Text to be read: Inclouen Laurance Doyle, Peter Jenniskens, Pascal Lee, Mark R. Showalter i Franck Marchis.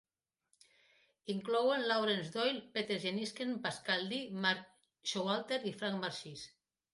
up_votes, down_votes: 2, 1